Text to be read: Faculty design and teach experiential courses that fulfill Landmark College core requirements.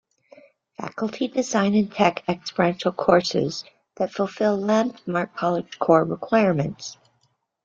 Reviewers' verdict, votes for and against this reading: rejected, 0, 2